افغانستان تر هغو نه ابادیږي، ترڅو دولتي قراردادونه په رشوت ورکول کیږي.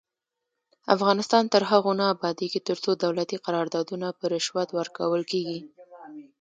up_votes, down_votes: 0, 2